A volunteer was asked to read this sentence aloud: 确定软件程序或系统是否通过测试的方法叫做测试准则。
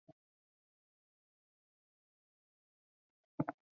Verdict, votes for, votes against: rejected, 0, 4